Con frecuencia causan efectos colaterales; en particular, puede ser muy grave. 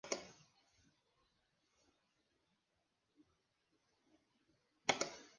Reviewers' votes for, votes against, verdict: 0, 2, rejected